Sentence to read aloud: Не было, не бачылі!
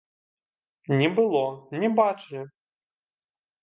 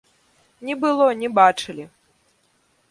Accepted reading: second